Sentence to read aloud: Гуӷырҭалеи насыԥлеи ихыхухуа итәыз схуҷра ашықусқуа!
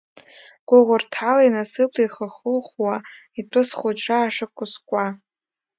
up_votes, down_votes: 2, 0